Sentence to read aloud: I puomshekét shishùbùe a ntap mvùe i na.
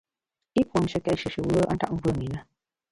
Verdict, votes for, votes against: rejected, 0, 3